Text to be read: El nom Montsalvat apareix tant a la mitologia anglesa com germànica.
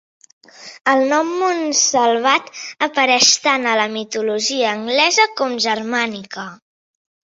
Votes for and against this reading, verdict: 2, 0, accepted